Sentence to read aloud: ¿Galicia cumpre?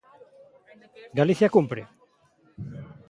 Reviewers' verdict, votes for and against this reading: accepted, 2, 1